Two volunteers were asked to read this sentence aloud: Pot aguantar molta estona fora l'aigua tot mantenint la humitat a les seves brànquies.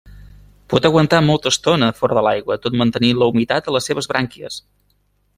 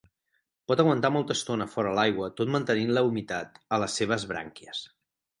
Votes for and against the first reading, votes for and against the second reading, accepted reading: 1, 2, 6, 0, second